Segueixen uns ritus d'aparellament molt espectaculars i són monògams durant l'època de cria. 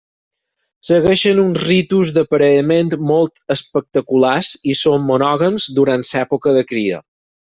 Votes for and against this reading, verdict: 0, 4, rejected